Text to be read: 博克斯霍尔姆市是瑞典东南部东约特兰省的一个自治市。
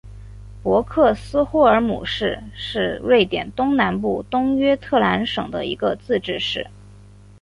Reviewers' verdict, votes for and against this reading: accepted, 3, 2